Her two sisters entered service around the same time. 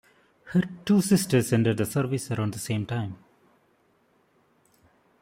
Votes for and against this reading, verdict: 0, 2, rejected